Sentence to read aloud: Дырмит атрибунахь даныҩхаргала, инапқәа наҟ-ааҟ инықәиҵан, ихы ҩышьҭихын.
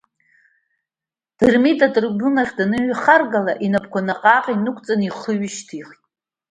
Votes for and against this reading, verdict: 2, 0, accepted